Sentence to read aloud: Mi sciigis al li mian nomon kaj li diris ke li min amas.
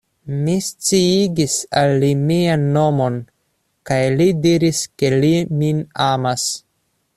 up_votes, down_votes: 2, 0